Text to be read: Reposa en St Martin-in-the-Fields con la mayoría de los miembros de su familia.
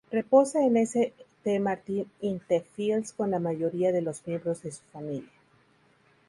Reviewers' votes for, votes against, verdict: 4, 2, accepted